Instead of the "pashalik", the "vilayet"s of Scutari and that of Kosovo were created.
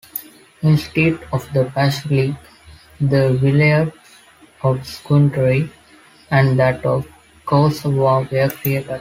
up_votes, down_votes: 0, 2